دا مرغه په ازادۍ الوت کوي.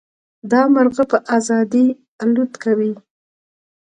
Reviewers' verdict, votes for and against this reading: rejected, 0, 2